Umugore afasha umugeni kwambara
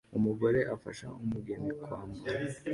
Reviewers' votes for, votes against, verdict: 2, 0, accepted